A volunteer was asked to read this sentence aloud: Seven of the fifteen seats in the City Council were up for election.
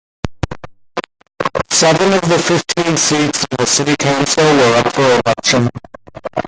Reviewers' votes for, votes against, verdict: 2, 1, accepted